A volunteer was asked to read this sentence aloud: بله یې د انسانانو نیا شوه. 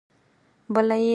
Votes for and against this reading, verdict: 0, 4, rejected